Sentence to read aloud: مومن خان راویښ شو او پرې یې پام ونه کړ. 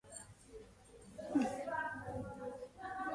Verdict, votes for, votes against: rejected, 1, 2